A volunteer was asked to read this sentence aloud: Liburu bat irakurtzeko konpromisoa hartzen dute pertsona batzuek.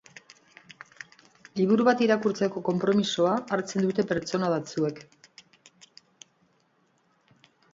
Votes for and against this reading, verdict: 5, 0, accepted